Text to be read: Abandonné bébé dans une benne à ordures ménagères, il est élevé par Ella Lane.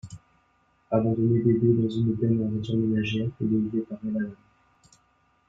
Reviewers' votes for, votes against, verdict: 1, 3, rejected